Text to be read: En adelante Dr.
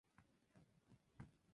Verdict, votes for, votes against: rejected, 0, 2